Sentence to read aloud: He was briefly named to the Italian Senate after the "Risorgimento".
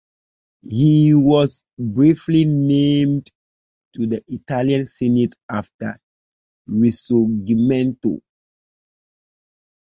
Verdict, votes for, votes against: rejected, 1, 2